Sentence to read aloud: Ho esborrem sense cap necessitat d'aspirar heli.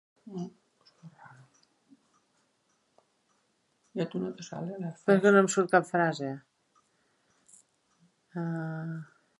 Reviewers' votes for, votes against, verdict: 0, 2, rejected